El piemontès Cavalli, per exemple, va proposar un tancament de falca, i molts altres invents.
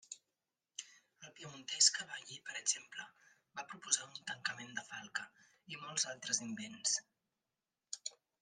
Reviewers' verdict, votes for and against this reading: rejected, 1, 2